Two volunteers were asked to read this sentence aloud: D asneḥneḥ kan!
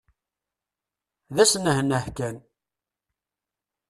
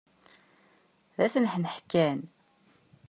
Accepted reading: second